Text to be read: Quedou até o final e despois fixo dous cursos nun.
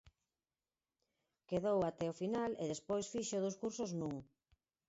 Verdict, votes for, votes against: accepted, 4, 0